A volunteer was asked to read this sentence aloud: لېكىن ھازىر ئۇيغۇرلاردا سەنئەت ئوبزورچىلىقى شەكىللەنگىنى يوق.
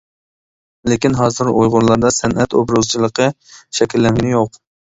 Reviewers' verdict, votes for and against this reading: rejected, 0, 2